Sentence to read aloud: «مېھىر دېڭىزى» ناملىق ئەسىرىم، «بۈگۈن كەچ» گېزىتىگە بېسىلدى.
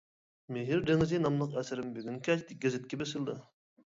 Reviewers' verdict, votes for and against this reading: rejected, 1, 2